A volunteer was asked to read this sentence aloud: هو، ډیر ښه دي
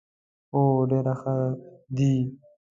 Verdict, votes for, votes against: rejected, 1, 2